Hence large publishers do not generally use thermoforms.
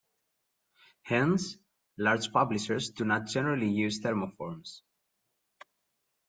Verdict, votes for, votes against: accepted, 2, 0